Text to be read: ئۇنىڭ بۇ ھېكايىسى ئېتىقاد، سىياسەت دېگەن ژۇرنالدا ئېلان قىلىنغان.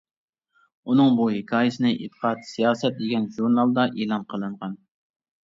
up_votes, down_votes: 0, 2